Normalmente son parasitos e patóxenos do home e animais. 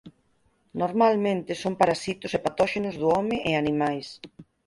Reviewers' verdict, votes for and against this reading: accepted, 4, 0